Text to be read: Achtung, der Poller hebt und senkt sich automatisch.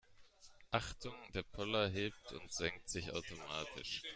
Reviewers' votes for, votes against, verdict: 1, 2, rejected